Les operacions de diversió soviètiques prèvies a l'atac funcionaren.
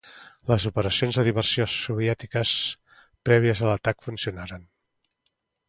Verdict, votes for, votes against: accepted, 2, 0